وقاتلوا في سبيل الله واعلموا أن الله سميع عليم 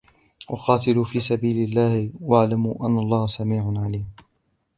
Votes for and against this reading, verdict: 0, 2, rejected